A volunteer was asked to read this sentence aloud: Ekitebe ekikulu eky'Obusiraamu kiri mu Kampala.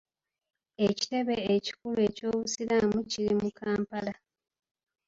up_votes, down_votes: 2, 1